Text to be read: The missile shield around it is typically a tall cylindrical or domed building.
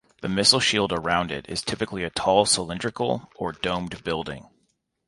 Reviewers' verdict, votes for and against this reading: accepted, 2, 0